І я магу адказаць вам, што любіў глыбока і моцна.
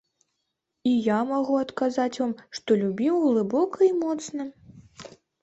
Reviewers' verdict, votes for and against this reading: accepted, 2, 0